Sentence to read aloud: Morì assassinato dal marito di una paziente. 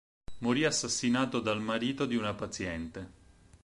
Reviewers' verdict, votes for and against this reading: accepted, 4, 0